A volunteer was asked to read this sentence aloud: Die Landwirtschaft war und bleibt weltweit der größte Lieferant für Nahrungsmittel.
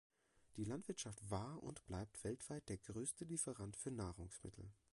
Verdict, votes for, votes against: rejected, 1, 2